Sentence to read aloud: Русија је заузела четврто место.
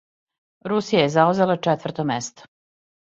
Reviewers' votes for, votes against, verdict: 2, 0, accepted